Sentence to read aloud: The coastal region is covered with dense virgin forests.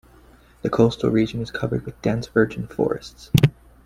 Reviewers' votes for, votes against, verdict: 2, 1, accepted